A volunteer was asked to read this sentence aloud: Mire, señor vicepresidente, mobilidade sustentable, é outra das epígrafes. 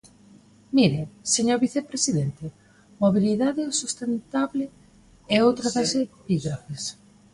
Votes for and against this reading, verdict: 0, 2, rejected